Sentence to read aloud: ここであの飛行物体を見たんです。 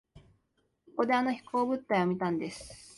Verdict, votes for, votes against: accepted, 2, 0